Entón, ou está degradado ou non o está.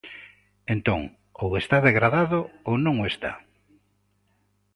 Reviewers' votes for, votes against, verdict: 2, 0, accepted